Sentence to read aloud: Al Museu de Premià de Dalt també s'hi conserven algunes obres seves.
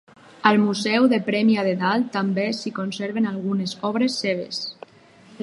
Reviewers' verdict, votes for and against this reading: rejected, 2, 2